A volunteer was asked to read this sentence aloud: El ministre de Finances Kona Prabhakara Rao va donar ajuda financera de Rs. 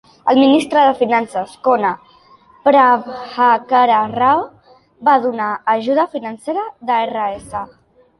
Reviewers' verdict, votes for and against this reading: accepted, 2, 0